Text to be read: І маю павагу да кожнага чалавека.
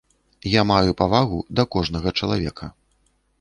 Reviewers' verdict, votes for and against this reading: rejected, 0, 2